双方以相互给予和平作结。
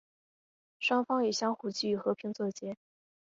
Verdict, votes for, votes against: accepted, 3, 0